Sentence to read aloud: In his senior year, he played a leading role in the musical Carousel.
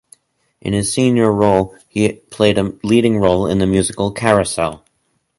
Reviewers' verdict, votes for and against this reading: rejected, 0, 4